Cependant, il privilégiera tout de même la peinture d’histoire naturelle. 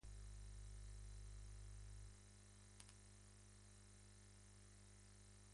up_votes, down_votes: 0, 2